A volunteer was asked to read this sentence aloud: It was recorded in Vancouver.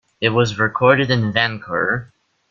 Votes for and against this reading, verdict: 0, 2, rejected